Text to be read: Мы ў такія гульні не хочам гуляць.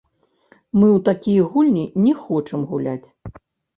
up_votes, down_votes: 0, 2